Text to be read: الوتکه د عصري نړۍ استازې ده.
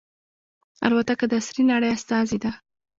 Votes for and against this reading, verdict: 0, 2, rejected